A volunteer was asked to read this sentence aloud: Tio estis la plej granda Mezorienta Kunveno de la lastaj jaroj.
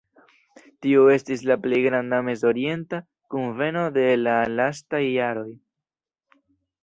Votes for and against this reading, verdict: 2, 0, accepted